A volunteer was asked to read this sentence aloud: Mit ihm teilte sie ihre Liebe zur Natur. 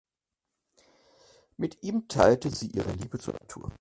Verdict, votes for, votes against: rejected, 2, 4